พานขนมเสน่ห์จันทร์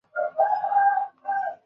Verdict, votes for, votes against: rejected, 0, 2